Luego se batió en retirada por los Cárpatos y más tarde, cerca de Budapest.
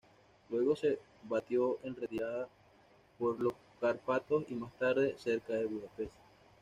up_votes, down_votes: 2, 0